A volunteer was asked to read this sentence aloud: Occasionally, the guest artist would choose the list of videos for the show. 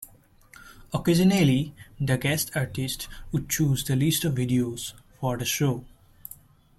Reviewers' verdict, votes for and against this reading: accepted, 2, 0